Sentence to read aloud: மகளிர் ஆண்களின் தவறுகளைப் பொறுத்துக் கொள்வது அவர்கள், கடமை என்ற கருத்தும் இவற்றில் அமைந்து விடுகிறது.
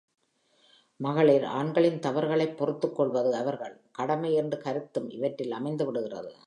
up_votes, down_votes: 2, 0